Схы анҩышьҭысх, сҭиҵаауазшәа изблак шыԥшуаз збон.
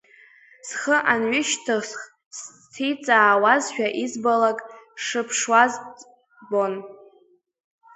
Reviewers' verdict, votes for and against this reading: rejected, 0, 2